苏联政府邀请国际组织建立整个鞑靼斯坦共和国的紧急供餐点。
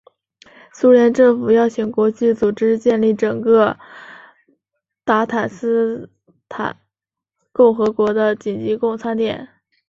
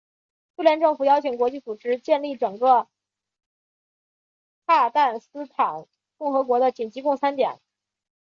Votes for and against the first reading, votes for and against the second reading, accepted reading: 2, 1, 0, 2, first